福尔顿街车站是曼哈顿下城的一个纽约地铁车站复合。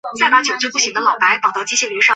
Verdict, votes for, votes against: rejected, 0, 3